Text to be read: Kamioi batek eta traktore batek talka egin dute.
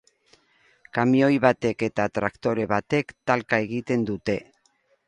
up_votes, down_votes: 2, 2